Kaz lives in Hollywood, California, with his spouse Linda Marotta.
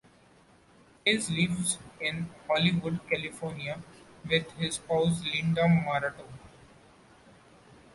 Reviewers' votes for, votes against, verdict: 1, 2, rejected